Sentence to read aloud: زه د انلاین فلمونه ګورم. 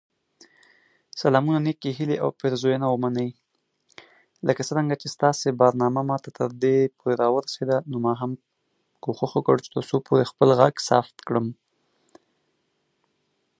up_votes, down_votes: 0, 2